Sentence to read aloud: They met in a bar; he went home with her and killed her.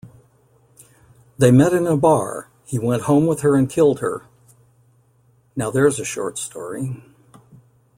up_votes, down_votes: 0, 2